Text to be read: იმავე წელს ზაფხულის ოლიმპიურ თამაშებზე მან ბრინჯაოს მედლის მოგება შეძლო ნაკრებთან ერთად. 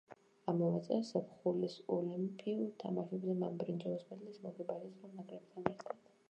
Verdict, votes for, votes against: rejected, 0, 2